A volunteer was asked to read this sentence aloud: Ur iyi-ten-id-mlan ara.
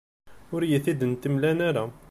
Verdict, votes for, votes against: rejected, 1, 2